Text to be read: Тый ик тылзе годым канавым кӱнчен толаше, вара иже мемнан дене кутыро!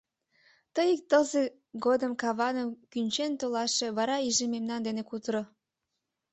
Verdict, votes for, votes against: rejected, 1, 2